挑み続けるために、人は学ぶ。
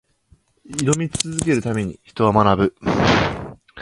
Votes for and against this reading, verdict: 2, 0, accepted